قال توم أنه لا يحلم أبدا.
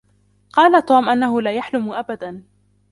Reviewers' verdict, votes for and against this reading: rejected, 0, 2